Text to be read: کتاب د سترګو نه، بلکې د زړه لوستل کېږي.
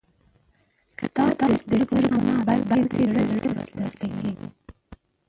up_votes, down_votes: 0, 2